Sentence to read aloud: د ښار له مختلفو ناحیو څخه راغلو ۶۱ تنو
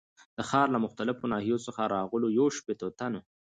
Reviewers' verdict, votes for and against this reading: rejected, 0, 2